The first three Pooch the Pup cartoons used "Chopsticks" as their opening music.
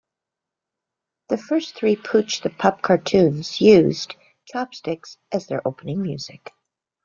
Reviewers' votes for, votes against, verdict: 2, 0, accepted